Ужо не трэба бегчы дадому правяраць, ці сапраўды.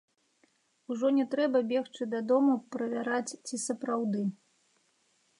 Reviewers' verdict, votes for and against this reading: accepted, 2, 0